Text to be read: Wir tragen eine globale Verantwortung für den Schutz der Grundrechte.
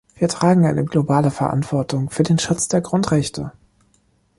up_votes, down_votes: 2, 0